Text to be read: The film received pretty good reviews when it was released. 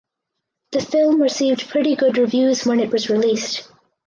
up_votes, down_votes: 4, 0